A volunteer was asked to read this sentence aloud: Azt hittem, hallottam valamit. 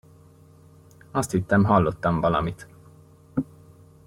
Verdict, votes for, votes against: accepted, 2, 0